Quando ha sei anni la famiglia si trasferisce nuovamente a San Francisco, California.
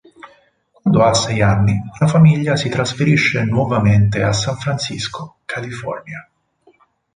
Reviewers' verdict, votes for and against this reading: accepted, 4, 2